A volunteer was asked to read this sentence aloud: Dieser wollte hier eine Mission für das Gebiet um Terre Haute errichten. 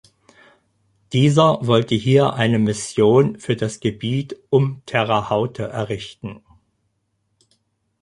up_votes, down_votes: 0, 4